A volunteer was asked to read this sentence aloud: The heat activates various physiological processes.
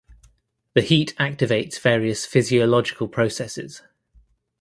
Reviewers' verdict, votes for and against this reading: accepted, 2, 0